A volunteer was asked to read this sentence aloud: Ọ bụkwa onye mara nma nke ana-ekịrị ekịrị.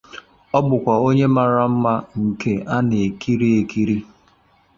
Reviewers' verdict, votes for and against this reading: accepted, 2, 0